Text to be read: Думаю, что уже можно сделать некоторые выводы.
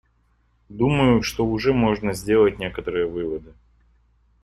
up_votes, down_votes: 2, 0